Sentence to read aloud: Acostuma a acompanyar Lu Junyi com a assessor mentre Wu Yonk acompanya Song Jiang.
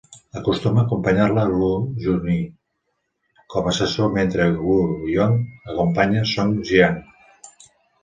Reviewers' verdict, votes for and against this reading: rejected, 1, 2